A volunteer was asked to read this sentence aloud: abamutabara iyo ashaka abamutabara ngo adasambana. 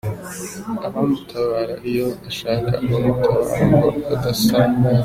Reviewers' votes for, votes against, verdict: 1, 2, rejected